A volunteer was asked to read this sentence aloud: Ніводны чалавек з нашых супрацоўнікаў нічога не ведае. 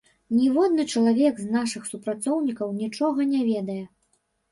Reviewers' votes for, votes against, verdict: 2, 0, accepted